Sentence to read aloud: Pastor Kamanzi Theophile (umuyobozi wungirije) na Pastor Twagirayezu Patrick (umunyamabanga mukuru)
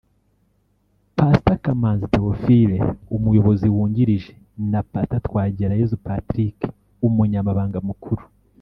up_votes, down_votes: 1, 2